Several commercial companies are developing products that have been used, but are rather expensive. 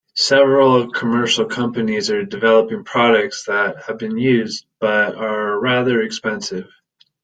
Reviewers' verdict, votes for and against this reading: accepted, 2, 0